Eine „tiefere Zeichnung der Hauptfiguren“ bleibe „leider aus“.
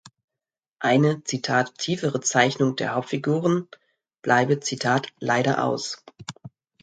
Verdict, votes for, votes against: rejected, 1, 2